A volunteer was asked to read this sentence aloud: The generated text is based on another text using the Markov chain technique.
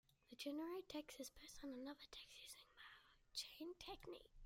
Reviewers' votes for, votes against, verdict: 1, 2, rejected